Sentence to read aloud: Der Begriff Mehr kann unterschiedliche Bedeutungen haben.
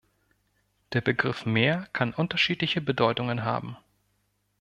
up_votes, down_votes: 2, 0